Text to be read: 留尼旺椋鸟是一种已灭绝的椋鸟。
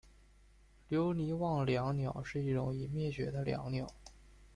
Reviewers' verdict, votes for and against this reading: rejected, 0, 2